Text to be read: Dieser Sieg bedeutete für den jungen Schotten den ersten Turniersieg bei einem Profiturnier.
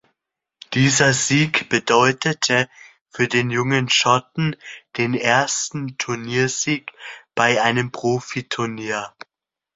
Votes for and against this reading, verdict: 2, 0, accepted